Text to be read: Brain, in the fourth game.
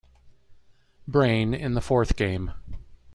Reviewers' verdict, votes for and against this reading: accepted, 2, 0